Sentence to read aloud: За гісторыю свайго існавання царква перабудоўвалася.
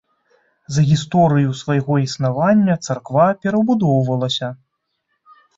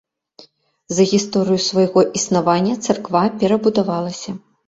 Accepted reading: first